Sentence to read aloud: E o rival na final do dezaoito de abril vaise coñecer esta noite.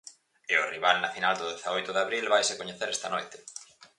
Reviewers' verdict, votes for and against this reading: accepted, 4, 0